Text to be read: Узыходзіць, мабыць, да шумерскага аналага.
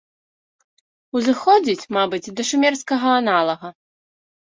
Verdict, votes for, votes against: accepted, 2, 1